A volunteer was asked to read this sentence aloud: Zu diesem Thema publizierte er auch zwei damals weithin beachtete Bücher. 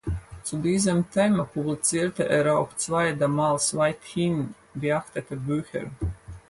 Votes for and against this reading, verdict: 4, 0, accepted